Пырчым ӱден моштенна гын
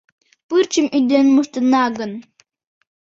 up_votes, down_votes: 0, 2